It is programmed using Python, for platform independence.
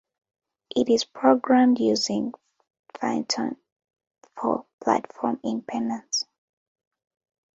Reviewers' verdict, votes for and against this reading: rejected, 1, 2